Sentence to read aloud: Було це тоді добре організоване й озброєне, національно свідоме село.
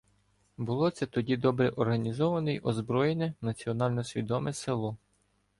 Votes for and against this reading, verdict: 2, 0, accepted